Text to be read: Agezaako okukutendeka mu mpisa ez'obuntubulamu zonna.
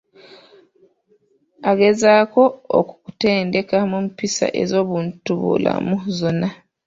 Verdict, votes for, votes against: accepted, 2, 1